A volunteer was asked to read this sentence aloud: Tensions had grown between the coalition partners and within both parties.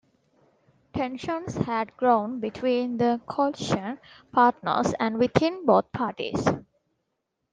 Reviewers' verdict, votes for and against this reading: rejected, 0, 2